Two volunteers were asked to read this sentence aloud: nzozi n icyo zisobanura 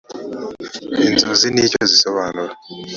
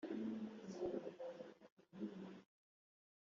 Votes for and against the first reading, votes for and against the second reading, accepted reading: 3, 1, 1, 2, first